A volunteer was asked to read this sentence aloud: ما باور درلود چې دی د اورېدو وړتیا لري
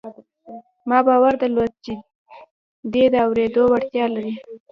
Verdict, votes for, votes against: rejected, 0, 2